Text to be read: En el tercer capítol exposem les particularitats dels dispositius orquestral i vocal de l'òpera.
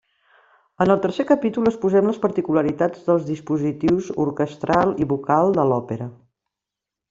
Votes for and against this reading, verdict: 3, 0, accepted